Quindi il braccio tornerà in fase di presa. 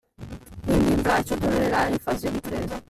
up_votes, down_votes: 1, 2